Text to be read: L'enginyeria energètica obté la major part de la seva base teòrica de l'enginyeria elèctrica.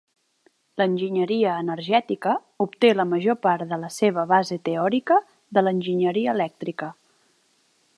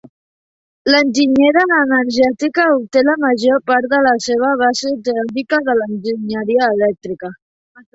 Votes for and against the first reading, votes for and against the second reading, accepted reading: 4, 0, 1, 3, first